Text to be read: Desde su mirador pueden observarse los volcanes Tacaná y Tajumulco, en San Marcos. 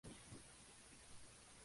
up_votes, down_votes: 0, 4